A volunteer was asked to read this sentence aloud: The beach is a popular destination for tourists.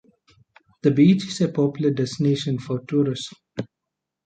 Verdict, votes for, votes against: accepted, 2, 1